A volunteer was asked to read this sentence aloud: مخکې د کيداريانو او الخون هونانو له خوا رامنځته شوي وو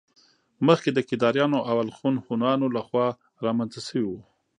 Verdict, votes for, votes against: rejected, 1, 2